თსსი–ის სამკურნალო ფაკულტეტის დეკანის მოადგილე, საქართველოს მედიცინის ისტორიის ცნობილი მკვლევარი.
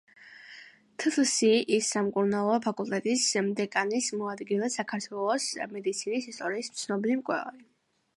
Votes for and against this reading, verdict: 2, 1, accepted